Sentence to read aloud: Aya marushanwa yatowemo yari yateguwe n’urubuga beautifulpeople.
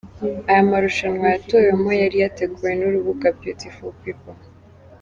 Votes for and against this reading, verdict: 4, 0, accepted